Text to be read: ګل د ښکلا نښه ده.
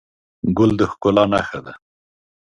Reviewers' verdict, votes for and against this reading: accepted, 2, 0